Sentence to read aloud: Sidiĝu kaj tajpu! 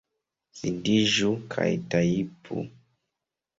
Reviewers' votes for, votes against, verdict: 2, 0, accepted